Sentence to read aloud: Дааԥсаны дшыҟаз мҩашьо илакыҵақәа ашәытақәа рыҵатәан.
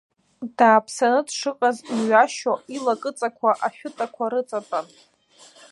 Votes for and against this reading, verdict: 1, 2, rejected